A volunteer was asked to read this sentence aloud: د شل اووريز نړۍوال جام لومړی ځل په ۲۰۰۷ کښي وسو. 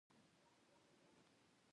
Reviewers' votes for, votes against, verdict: 0, 2, rejected